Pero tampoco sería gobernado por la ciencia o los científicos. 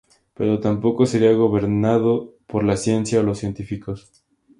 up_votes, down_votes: 2, 0